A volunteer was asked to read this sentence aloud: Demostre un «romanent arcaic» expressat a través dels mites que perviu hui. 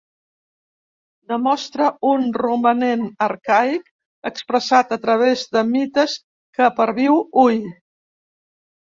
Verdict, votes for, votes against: rejected, 0, 2